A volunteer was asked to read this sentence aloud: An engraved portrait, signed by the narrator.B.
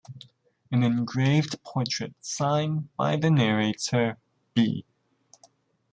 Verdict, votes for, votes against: rejected, 0, 2